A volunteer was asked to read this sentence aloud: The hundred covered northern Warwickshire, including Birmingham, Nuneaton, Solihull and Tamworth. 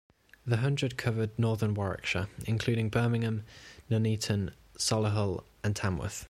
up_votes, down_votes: 2, 0